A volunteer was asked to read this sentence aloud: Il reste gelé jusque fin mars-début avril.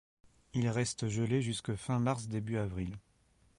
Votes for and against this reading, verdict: 3, 0, accepted